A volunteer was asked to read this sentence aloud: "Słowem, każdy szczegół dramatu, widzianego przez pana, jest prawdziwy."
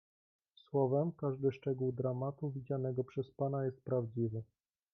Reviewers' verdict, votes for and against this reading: accepted, 2, 0